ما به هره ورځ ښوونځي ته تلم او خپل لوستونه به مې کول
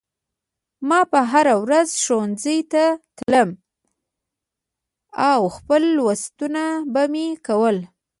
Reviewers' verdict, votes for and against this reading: rejected, 0, 2